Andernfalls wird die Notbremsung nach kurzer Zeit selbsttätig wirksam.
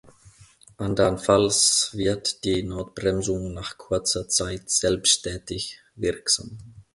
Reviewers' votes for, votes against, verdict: 2, 0, accepted